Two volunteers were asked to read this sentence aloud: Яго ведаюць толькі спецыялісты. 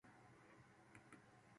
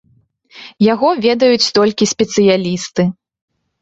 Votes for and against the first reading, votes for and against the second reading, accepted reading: 0, 2, 2, 0, second